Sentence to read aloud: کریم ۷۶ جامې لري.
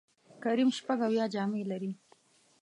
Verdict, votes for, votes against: rejected, 0, 2